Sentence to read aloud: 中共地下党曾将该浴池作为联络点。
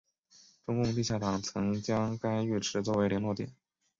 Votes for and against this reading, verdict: 3, 0, accepted